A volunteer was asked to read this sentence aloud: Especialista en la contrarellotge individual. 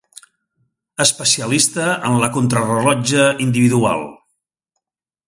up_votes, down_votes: 2, 0